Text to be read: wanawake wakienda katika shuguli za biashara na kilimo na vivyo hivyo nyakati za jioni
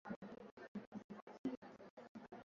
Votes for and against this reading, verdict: 0, 2, rejected